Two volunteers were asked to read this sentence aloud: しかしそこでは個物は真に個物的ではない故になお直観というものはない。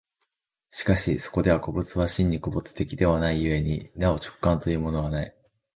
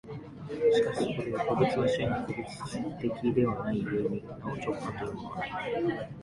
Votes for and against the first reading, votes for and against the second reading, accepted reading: 2, 1, 1, 2, first